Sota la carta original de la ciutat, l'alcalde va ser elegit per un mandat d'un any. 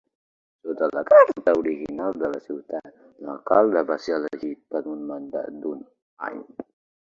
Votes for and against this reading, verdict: 1, 2, rejected